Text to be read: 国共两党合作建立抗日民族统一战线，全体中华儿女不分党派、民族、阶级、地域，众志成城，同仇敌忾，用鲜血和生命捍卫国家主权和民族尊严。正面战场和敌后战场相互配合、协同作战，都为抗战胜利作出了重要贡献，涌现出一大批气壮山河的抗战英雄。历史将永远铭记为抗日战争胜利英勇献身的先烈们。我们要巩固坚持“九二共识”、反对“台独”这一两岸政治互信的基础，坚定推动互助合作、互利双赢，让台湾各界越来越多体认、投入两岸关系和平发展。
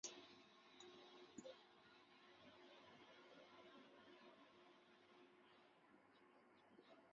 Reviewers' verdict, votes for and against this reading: rejected, 0, 2